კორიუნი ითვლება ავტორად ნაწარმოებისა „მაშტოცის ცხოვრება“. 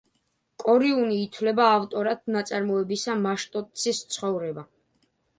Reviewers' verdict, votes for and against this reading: accepted, 2, 0